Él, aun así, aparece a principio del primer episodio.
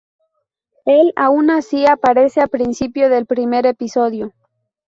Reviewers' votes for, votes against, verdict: 2, 0, accepted